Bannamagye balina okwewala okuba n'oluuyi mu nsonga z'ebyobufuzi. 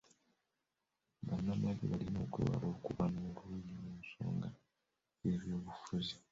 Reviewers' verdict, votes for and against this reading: rejected, 1, 2